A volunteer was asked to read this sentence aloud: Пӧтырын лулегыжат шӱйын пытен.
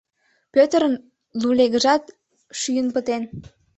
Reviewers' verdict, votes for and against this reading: accepted, 2, 0